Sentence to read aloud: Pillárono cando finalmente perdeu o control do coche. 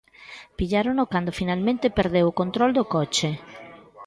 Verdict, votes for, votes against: accepted, 2, 0